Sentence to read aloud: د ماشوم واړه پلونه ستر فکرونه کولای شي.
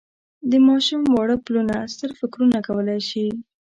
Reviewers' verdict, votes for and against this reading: accepted, 2, 0